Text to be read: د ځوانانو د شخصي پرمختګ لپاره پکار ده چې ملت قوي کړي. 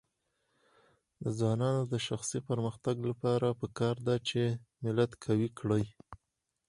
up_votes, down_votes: 4, 0